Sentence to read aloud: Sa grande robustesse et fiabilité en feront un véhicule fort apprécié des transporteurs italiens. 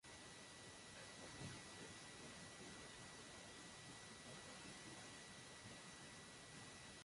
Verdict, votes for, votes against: rejected, 0, 2